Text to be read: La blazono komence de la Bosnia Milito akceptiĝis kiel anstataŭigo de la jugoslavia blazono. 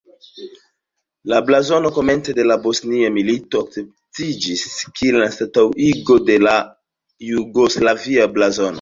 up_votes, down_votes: 2, 0